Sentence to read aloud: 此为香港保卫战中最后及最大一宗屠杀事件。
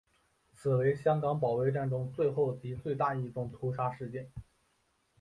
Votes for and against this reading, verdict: 3, 0, accepted